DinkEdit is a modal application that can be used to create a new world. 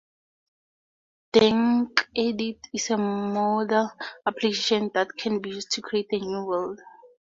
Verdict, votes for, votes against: rejected, 2, 2